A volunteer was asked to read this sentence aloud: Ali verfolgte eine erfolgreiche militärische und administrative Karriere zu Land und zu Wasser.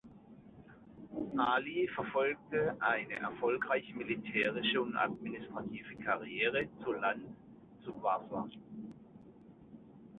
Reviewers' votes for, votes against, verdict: 2, 0, accepted